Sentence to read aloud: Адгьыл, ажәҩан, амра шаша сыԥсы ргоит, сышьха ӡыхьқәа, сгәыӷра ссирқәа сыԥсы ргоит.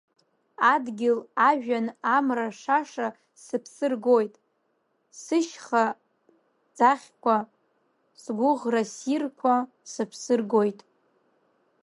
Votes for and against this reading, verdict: 0, 2, rejected